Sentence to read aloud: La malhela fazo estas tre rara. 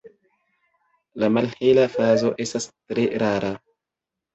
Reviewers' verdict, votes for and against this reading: accepted, 3, 0